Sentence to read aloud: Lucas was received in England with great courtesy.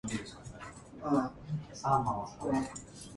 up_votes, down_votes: 0, 3